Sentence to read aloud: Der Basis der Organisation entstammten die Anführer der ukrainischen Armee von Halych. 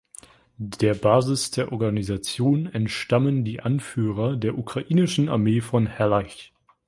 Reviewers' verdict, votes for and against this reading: rejected, 0, 2